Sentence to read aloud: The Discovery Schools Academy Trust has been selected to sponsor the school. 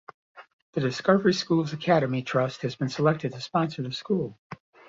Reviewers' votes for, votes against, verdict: 1, 2, rejected